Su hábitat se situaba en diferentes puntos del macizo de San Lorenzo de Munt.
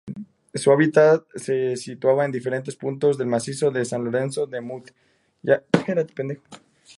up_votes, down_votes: 0, 2